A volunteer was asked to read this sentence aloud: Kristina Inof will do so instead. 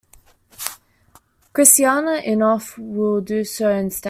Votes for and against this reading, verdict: 0, 2, rejected